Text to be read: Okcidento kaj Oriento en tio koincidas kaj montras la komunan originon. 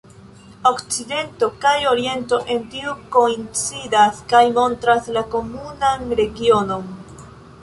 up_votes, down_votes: 2, 0